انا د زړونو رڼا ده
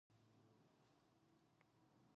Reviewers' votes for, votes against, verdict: 0, 2, rejected